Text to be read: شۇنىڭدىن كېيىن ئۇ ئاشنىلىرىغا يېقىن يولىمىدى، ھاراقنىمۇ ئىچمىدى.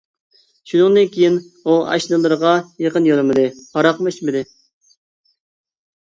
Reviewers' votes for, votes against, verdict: 2, 0, accepted